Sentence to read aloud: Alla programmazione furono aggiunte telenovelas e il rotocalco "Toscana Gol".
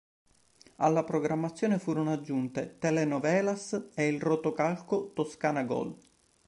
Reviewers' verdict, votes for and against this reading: accepted, 2, 0